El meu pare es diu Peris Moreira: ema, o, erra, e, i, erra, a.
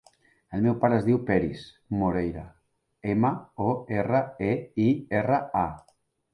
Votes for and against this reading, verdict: 3, 0, accepted